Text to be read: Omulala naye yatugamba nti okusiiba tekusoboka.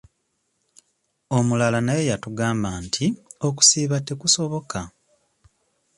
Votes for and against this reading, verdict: 2, 0, accepted